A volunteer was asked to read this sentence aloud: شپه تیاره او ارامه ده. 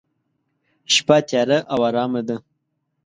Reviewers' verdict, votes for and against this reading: accepted, 2, 0